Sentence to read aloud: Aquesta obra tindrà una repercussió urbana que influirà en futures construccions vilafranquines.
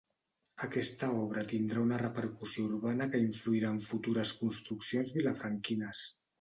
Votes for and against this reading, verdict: 2, 0, accepted